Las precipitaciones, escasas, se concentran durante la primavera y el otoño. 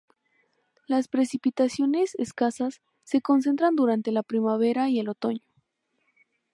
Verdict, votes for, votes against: accepted, 2, 0